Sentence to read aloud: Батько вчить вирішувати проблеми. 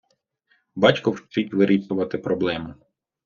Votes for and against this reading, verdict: 1, 2, rejected